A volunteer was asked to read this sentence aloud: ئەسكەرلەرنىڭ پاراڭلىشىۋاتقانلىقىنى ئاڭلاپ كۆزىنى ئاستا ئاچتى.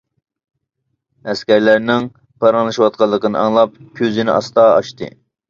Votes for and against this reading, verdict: 2, 0, accepted